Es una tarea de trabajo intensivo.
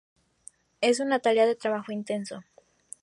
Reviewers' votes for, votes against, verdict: 0, 2, rejected